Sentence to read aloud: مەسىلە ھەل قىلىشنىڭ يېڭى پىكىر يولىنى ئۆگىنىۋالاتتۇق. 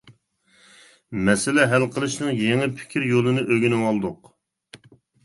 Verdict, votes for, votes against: accepted, 2, 1